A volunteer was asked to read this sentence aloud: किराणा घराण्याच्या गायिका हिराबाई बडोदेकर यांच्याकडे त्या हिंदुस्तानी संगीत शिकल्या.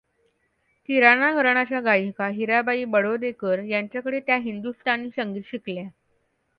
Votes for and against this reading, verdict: 2, 0, accepted